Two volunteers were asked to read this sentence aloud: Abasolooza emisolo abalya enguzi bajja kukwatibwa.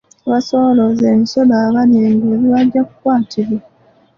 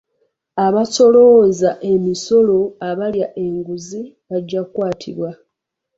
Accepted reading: second